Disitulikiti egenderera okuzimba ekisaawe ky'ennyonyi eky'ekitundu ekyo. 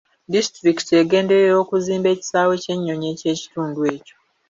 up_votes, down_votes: 2, 1